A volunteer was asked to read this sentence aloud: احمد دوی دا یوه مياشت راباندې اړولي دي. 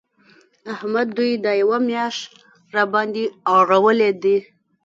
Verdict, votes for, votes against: rejected, 2, 3